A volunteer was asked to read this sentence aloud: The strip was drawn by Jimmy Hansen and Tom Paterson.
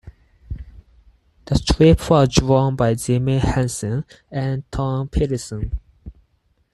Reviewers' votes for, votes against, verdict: 0, 4, rejected